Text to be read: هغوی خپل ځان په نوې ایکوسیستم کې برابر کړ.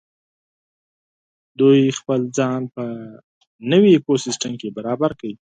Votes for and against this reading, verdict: 2, 4, rejected